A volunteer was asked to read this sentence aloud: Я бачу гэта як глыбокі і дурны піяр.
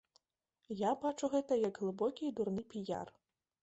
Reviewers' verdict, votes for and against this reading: accepted, 2, 0